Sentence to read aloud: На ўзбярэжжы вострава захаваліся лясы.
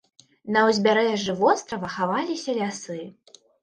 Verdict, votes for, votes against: rejected, 1, 2